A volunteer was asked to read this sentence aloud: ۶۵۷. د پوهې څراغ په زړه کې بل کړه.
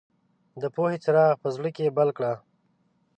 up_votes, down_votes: 0, 2